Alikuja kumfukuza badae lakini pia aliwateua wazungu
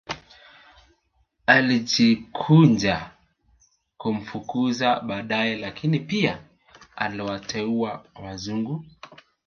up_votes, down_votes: 1, 2